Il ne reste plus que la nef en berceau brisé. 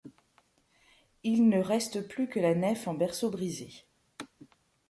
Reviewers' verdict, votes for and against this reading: accepted, 2, 0